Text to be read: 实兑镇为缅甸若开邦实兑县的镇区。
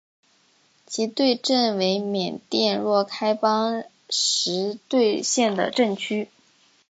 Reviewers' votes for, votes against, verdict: 7, 0, accepted